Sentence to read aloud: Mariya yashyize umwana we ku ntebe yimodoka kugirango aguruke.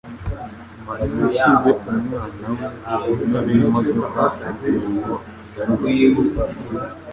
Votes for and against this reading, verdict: 1, 2, rejected